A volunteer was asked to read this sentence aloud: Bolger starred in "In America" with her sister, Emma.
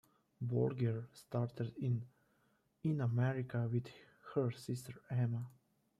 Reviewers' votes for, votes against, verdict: 1, 2, rejected